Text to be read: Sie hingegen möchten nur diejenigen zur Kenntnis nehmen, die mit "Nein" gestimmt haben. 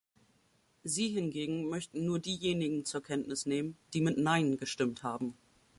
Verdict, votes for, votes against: accepted, 2, 0